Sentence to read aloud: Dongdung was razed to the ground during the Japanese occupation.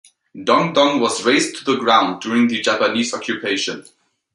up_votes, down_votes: 2, 0